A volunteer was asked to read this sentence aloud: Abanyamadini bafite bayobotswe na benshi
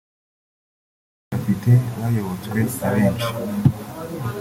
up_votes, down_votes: 0, 2